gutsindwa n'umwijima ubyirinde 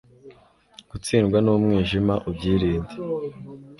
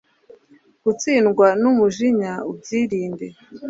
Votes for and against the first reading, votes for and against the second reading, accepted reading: 2, 0, 1, 2, first